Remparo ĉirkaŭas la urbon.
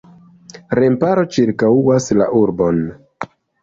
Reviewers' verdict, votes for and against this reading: rejected, 0, 2